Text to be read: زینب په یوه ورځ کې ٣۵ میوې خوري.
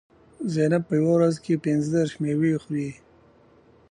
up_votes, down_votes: 0, 2